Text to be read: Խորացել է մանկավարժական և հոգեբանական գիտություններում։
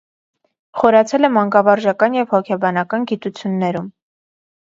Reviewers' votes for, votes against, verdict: 2, 0, accepted